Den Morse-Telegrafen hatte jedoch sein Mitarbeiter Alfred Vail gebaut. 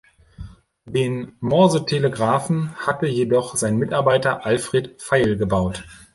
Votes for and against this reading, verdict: 2, 0, accepted